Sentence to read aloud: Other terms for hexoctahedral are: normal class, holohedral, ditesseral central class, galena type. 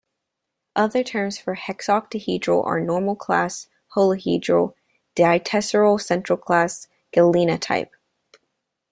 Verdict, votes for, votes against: accepted, 2, 0